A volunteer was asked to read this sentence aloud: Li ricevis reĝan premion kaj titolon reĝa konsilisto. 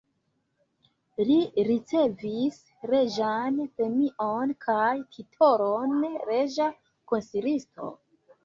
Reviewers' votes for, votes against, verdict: 2, 0, accepted